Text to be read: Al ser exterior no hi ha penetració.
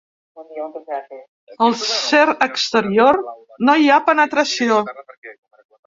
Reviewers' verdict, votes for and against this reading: rejected, 0, 2